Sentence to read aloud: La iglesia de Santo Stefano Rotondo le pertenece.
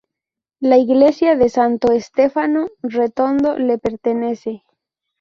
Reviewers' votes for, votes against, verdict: 0, 2, rejected